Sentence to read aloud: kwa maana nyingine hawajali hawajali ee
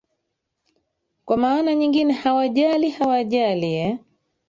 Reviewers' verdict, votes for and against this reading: rejected, 1, 3